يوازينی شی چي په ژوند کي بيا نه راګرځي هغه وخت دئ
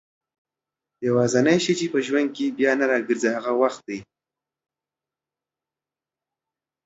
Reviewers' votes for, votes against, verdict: 2, 0, accepted